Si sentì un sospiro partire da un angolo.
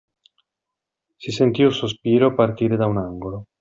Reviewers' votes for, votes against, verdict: 2, 0, accepted